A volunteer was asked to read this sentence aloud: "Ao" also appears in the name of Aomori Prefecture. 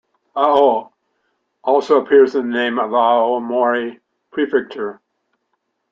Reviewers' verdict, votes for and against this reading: rejected, 0, 2